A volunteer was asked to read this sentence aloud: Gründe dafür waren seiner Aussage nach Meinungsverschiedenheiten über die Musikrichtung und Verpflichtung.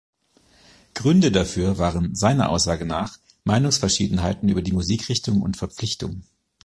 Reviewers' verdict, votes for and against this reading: accepted, 2, 1